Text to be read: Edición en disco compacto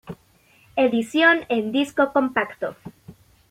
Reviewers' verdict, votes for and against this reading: accepted, 2, 0